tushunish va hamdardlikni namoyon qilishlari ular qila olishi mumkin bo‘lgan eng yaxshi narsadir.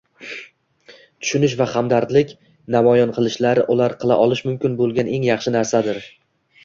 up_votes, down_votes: 1, 2